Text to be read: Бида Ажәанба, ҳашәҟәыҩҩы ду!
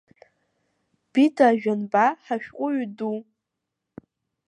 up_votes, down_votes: 1, 2